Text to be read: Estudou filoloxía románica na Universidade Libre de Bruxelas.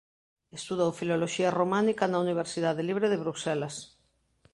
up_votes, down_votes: 1, 2